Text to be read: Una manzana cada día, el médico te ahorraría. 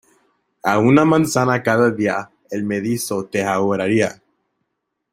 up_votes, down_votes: 0, 2